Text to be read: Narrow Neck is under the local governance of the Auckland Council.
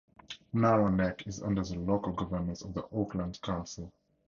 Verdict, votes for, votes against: rejected, 2, 2